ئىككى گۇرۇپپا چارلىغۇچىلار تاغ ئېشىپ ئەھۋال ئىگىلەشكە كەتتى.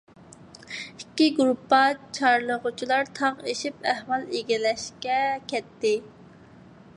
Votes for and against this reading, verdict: 2, 0, accepted